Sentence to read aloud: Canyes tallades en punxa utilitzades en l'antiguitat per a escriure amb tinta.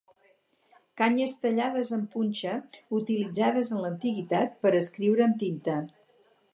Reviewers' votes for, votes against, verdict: 6, 0, accepted